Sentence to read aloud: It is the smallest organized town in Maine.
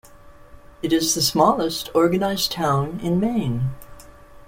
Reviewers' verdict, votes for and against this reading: accepted, 2, 0